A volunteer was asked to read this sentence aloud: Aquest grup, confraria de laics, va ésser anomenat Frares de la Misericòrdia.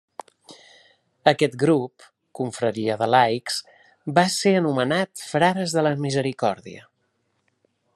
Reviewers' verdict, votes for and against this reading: accepted, 2, 0